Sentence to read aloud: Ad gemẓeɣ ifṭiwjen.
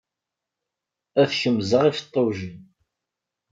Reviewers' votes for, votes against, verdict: 1, 2, rejected